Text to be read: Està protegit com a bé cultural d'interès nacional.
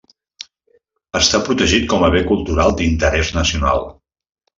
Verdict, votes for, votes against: accepted, 3, 0